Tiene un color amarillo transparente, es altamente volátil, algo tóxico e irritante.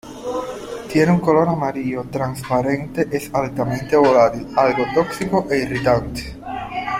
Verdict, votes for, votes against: rejected, 0, 2